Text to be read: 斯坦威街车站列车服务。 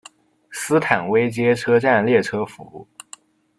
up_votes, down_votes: 2, 0